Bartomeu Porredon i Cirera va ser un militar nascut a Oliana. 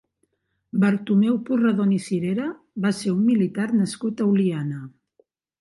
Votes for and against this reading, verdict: 3, 0, accepted